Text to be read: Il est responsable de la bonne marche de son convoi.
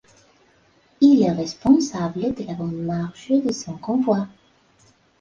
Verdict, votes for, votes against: accepted, 3, 0